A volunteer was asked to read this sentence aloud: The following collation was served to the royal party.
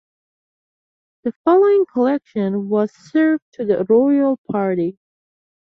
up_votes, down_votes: 1, 2